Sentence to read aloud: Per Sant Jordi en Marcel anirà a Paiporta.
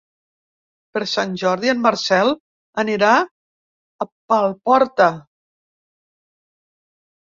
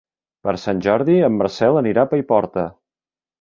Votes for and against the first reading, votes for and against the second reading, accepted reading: 0, 2, 3, 0, second